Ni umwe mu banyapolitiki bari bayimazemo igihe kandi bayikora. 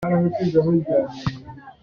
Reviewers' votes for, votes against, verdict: 0, 2, rejected